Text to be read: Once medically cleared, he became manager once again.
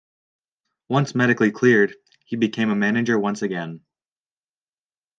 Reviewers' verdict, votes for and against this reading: accepted, 2, 0